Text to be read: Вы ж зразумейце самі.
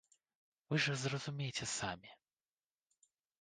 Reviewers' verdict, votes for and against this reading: rejected, 0, 2